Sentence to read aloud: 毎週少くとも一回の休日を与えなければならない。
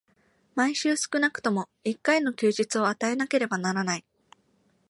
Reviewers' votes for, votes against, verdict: 2, 0, accepted